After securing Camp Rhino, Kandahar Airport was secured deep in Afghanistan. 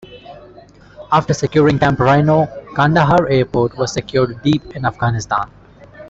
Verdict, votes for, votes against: accepted, 2, 0